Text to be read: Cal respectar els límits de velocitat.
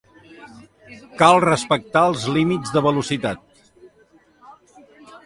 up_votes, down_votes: 2, 0